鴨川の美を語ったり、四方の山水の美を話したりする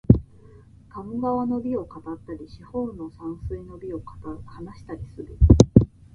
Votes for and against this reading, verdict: 2, 2, rejected